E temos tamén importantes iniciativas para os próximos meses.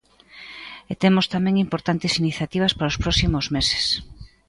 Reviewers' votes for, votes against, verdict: 2, 0, accepted